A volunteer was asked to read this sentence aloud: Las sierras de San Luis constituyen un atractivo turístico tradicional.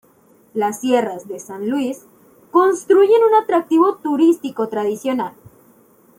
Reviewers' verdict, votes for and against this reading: rejected, 0, 2